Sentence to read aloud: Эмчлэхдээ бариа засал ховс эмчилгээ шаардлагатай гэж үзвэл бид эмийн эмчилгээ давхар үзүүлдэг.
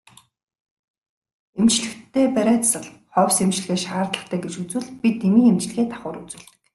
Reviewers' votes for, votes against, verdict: 2, 0, accepted